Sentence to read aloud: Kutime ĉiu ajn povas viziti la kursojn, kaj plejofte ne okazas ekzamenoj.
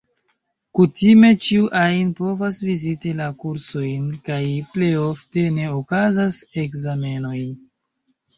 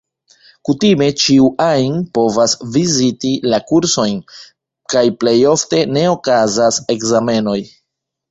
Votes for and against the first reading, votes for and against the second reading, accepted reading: 2, 1, 1, 2, first